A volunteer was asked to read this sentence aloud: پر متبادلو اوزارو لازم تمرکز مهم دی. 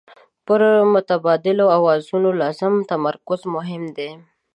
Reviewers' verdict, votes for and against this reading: accepted, 2, 1